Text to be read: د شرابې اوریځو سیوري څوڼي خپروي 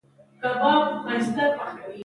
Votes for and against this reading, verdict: 0, 2, rejected